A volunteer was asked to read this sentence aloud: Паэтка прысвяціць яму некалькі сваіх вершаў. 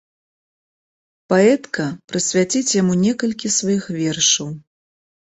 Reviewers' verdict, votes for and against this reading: accepted, 2, 0